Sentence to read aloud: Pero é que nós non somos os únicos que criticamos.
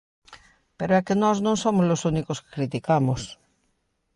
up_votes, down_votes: 2, 0